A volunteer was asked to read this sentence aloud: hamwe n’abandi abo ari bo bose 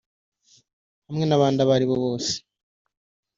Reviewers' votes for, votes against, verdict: 1, 2, rejected